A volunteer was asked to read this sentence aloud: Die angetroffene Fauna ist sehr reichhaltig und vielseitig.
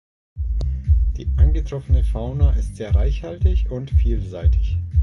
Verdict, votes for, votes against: accepted, 2, 0